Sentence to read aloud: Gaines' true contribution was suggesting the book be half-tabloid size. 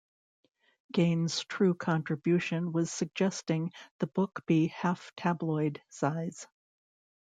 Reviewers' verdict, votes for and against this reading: accepted, 2, 0